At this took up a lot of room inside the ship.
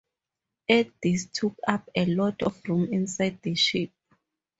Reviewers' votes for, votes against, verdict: 4, 0, accepted